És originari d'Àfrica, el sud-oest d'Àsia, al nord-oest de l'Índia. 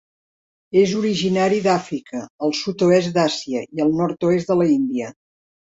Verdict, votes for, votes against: rejected, 0, 2